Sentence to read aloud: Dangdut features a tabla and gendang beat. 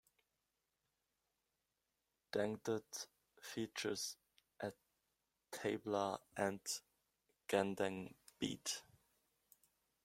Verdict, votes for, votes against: rejected, 0, 2